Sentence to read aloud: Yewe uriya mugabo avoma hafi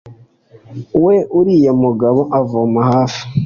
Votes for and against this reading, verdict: 2, 0, accepted